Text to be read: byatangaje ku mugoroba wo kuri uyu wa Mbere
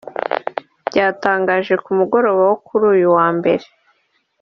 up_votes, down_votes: 2, 0